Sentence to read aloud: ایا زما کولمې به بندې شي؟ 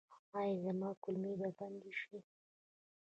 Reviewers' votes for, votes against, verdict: 1, 2, rejected